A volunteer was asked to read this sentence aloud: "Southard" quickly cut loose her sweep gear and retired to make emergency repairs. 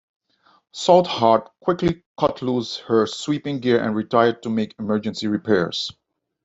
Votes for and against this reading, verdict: 1, 2, rejected